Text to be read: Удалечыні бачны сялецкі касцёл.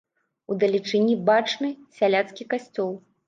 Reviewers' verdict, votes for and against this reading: rejected, 0, 2